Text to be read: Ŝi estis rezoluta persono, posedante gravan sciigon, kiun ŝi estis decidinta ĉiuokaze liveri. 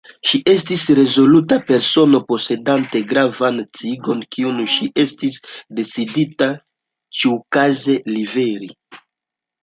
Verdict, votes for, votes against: accepted, 2, 1